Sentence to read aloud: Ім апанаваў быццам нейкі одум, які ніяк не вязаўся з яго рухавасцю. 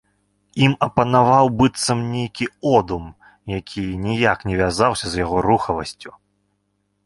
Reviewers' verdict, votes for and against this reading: rejected, 0, 2